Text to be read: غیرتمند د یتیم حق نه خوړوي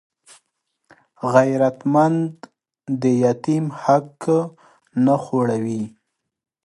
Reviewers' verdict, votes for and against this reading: accepted, 2, 0